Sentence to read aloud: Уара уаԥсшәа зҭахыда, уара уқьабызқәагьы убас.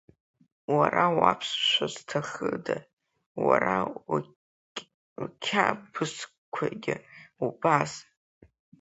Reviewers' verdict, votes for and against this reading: rejected, 0, 2